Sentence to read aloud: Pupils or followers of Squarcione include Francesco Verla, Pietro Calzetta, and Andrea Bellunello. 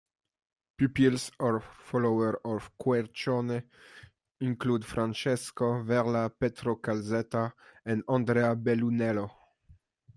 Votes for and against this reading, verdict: 2, 0, accepted